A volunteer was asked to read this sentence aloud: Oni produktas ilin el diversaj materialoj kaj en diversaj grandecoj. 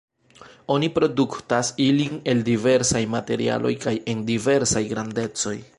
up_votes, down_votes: 2, 0